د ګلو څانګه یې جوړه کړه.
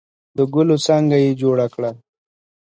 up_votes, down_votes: 2, 0